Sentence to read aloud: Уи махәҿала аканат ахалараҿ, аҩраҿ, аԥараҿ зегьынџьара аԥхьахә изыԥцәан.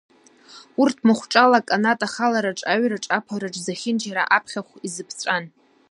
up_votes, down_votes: 1, 2